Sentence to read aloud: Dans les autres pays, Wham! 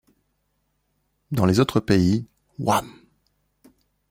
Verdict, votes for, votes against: accepted, 2, 0